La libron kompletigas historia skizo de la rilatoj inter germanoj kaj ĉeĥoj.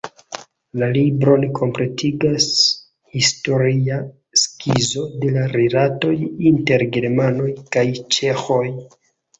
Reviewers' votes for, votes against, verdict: 2, 1, accepted